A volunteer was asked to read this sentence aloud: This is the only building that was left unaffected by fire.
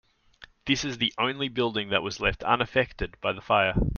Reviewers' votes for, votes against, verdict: 0, 2, rejected